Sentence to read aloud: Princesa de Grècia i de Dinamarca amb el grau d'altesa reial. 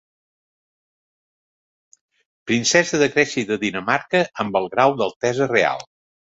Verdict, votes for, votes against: accepted, 3, 2